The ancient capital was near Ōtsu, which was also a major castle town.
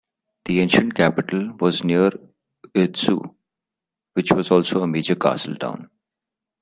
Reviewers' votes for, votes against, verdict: 2, 1, accepted